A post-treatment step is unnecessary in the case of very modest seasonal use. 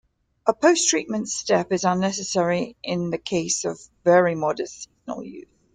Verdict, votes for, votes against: rejected, 1, 2